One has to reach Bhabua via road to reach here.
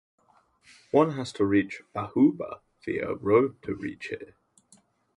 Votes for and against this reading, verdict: 0, 2, rejected